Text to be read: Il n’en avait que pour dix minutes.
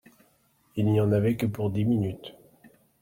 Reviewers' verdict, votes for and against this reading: rejected, 0, 2